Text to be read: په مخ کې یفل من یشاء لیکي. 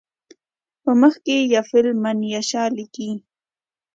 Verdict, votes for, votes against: accepted, 2, 0